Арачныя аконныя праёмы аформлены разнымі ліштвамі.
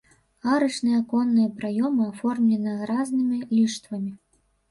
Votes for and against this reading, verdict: 1, 3, rejected